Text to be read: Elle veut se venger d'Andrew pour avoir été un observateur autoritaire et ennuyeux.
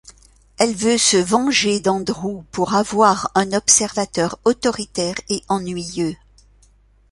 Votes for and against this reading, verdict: 0, 2, rejected